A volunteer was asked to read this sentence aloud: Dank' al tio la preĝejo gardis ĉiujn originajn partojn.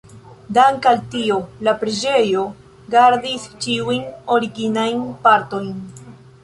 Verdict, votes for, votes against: accepted, 2, 0